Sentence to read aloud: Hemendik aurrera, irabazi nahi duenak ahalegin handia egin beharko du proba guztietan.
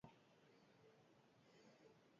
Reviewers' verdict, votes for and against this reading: rejected, 0, 4